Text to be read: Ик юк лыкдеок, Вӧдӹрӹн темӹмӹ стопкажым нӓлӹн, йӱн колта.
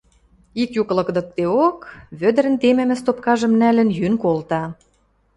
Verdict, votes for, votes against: rejected, 1, 2